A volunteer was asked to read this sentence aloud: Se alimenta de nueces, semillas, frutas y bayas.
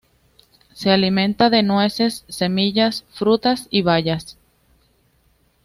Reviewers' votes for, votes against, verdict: 2, 0, accepted